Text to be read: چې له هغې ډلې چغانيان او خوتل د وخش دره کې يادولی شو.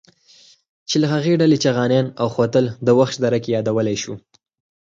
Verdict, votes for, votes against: accepted, 4, 0